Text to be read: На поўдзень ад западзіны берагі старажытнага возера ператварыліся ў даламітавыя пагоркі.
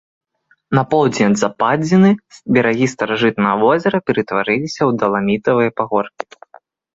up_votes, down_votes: 2, 0